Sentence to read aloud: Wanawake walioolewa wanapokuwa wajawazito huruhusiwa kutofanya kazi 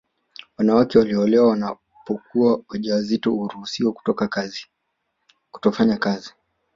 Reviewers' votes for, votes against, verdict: 2, 1, accepted